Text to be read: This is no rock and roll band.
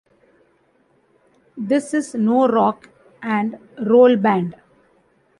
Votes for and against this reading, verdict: 0, 2, rejected